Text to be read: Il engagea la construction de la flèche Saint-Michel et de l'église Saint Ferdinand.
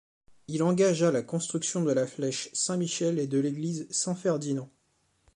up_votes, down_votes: 2, 0